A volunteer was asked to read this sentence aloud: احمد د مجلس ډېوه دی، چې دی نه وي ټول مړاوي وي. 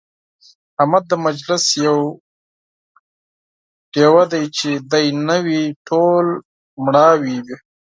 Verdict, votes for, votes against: rejected, 2, 4